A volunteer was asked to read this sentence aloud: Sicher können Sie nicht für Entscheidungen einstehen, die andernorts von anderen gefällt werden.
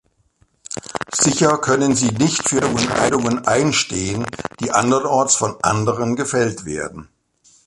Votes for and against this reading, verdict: 2, 0, accepted